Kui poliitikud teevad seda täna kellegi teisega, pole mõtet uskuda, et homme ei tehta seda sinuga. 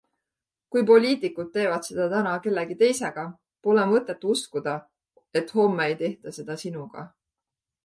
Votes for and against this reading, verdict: 2, 0, accepted